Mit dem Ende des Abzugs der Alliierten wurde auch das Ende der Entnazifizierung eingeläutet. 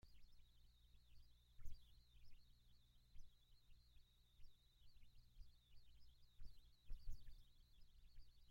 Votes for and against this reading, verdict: 0, 2, rejected